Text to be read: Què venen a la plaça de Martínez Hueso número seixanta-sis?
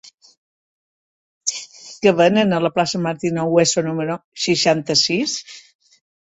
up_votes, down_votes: 1, 2